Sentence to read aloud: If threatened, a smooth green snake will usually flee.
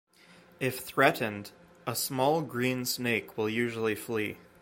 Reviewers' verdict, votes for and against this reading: rejected, 1, 2